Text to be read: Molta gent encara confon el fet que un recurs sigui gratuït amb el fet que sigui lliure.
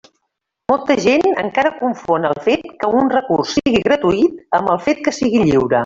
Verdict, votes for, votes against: accepted, 2, 0